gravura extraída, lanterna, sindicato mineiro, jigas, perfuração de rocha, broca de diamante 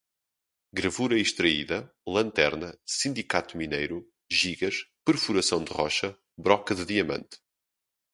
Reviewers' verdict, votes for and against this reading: rejected, 0, 2